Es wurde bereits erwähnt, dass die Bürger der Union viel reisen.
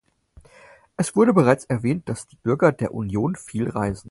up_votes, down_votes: 4, 0